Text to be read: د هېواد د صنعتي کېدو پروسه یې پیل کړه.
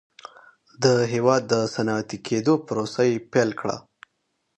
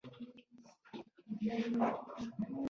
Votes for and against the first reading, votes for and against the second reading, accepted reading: 2, 0, 1, 2, first